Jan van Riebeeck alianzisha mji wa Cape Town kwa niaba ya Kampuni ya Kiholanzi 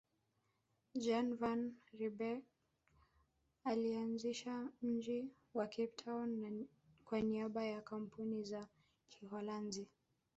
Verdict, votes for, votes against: accepted, 2, 0